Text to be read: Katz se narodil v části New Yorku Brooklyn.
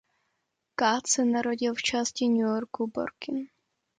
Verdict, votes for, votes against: rejected, 0, 2